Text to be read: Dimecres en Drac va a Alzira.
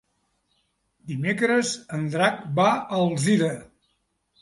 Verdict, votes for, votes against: accepted, 3, 0